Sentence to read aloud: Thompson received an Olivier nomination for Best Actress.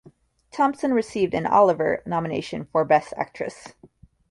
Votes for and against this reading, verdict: 0, 2, rejected